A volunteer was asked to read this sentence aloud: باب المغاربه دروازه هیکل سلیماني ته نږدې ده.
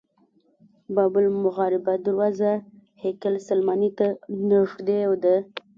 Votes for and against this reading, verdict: 1, 2, rejected